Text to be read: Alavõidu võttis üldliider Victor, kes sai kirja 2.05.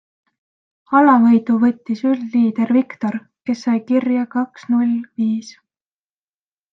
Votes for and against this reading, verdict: 0, 2, rejected